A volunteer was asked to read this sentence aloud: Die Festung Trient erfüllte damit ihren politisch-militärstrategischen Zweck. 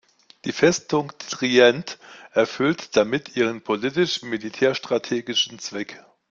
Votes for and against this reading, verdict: 2, 0, accepted